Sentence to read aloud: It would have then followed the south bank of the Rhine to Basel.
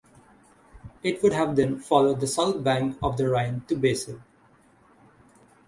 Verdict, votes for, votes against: accepted, 6, 0